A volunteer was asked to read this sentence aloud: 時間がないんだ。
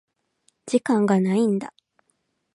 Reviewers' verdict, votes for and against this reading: accepted, 4, 0